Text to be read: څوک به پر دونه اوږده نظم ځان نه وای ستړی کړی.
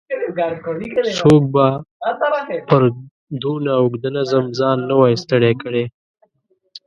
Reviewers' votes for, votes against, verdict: 0, 2, rejected